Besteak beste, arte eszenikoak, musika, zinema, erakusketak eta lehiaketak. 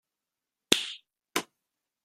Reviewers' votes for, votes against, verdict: 0, 2, rejected